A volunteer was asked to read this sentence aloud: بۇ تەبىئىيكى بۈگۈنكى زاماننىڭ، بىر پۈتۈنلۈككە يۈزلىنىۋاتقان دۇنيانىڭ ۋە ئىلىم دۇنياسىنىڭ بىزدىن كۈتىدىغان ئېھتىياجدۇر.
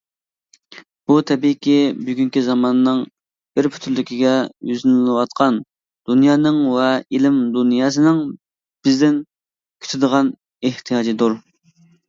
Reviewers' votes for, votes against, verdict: 0, 2, rejected